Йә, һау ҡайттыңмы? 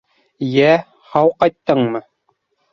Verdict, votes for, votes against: rejected, 1, 2